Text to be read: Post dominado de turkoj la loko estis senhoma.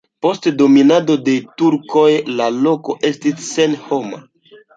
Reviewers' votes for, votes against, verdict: 2, 0, accepted